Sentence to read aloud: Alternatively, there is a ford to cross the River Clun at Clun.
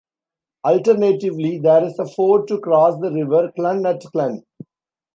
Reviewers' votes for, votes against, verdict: 2, 0, accepted